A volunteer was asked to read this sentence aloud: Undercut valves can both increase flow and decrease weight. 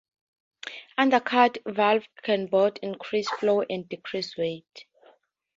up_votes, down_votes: 2, 0